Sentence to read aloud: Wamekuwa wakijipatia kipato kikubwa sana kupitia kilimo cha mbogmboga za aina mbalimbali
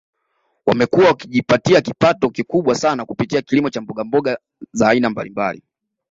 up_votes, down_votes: 2, 0